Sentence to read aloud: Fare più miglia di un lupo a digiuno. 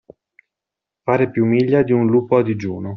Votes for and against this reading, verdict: 2, 0, accepted